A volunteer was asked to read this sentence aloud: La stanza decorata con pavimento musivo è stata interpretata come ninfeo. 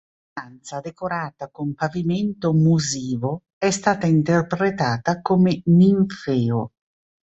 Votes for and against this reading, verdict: 0, 2, rejected